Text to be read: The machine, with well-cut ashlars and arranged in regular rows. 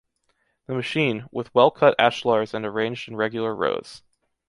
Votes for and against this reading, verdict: 2, 0, accepted